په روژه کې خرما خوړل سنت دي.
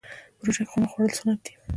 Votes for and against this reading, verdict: 2, 0, accepted